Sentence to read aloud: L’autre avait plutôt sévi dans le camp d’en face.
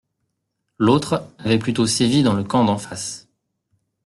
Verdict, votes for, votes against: accepted, 2, 0